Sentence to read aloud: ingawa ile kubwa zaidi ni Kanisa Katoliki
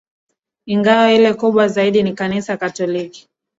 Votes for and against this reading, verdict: 1, 2, rejected